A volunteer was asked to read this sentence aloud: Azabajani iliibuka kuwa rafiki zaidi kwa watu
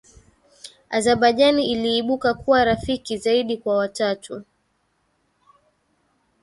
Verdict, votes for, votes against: rejected, 1, 2